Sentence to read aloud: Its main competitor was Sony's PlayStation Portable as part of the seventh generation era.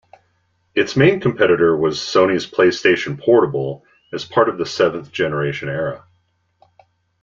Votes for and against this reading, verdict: 2, 0, accepted